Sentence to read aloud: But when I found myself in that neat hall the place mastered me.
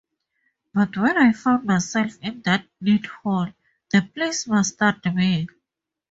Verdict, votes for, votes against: accepted, 2, 0